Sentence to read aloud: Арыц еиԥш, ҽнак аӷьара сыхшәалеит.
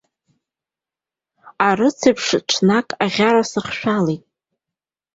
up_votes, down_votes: 2, 1